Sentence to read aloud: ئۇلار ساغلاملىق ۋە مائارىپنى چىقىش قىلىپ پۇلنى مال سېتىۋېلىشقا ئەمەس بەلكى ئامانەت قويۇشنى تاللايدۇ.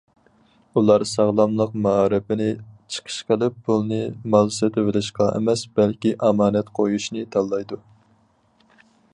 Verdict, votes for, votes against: rejected, 0, 2